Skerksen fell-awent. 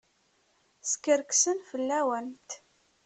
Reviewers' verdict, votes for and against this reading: accepted, 2, 0